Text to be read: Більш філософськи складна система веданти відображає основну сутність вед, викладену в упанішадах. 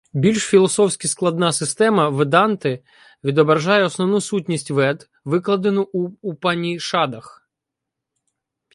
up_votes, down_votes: 1, 2